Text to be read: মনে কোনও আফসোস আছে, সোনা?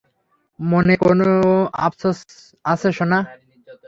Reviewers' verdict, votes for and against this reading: accepted, 3, 0